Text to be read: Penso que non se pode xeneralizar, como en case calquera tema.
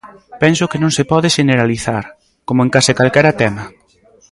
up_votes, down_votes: 0, 2